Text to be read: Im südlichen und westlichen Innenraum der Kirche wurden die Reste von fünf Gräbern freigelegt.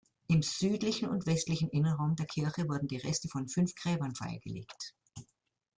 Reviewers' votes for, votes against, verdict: 2, 0, accepted